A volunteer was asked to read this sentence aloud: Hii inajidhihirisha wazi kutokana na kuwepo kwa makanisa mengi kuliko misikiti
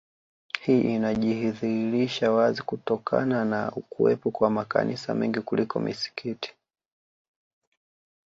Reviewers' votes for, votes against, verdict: 2, 0, accepted